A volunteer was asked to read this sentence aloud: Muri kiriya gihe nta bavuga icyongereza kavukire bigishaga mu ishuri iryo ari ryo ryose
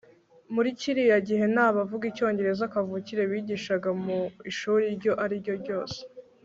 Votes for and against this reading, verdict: 0, 2, rejected